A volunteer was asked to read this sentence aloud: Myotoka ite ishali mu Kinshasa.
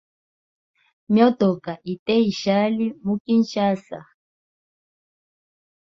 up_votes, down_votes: 2, 0